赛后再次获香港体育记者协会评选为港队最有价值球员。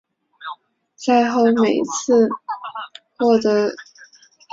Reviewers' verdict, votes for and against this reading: rejected, 0, 5